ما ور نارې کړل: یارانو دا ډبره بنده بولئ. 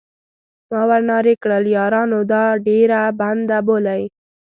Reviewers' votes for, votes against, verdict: 1, 2, rejected